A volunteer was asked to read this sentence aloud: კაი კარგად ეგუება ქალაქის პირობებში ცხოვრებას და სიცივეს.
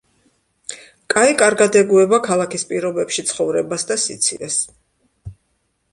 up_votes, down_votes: 2, 0